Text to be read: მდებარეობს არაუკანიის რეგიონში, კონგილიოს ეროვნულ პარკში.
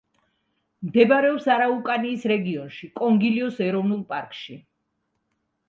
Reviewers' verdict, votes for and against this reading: accepted, 2, 0